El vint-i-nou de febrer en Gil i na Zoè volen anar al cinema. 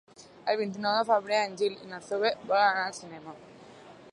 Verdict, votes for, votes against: accepted, 4, 2